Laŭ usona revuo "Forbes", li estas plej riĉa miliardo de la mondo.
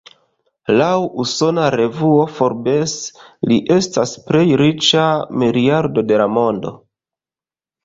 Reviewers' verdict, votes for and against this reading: accepted, 2, 0